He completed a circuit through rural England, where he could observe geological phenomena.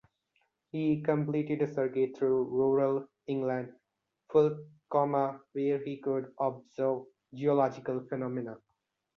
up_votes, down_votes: 1, 2